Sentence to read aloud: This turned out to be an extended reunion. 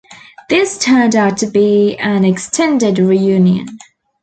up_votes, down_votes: 2, 0